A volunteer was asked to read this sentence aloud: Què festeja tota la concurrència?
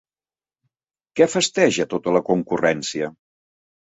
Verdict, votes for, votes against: accepted, 2, 0